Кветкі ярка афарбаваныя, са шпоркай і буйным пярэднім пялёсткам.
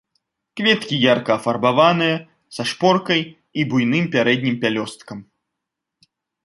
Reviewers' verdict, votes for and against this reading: accepted, 2, 0